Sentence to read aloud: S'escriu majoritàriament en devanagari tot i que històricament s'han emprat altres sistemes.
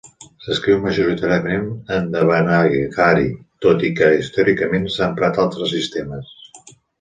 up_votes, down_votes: 0, 2